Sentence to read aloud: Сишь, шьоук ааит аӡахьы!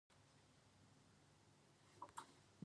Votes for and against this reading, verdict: 0, 2, rejected